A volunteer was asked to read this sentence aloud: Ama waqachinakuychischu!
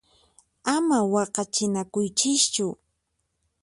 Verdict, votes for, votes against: accepted, 4, 0